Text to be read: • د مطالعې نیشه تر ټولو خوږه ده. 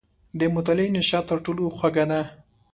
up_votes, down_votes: 2, 0